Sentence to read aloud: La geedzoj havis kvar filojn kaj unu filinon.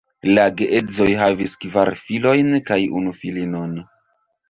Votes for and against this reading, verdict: 1, 2, rejected